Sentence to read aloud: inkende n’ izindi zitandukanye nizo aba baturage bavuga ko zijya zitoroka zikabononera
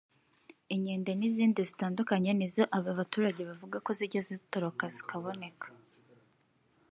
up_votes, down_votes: 1, 3